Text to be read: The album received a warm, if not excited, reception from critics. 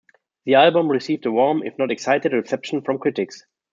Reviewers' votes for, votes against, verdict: 2, 0, accepted